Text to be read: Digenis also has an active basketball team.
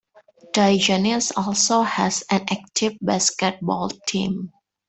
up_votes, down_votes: 3, 2